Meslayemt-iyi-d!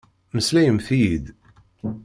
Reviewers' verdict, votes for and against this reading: accepted, 2, 0